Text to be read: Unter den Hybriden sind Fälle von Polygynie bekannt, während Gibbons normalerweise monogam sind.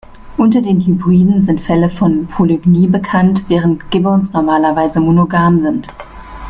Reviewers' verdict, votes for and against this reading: accepted, 3, 0